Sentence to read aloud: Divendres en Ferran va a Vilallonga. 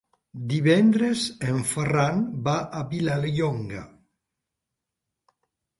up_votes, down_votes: 1, 2